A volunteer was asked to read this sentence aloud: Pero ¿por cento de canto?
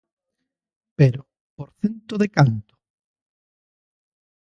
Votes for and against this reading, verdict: 2, 0, accepted